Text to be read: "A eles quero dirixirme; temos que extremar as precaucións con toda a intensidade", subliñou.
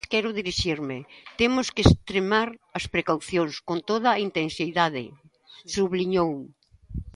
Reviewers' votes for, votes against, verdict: 0, 2, rejected